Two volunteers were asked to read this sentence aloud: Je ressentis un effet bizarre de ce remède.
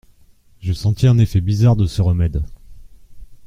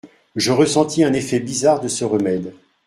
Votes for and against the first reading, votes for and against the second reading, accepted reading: 0, 2, 2, 0, second